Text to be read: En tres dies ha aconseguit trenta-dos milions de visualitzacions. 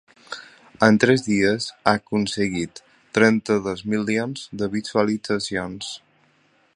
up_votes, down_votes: 3, 0